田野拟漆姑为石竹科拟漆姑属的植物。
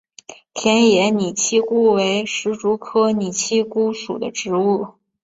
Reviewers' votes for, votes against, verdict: 2, 0, accepted